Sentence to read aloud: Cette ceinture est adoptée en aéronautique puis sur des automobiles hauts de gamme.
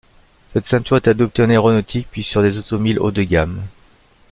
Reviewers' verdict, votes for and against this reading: rejected, 0, 2